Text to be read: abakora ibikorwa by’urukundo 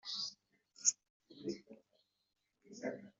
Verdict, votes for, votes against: rejected, 0, 2